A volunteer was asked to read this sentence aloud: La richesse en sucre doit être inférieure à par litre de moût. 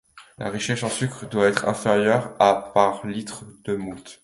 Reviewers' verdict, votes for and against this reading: rejected, 1, 2